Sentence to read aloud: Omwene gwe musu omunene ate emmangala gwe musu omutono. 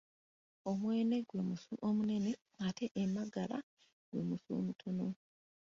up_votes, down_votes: 0, 3